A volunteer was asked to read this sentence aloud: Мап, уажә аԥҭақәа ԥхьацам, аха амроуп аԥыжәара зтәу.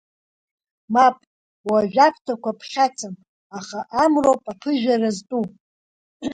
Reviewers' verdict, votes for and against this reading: accepted, 2, 0